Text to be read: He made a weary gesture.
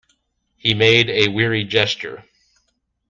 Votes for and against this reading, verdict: 2, 1, accepted